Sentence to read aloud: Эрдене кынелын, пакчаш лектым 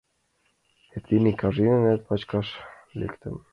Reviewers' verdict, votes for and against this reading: rejected, 0, 2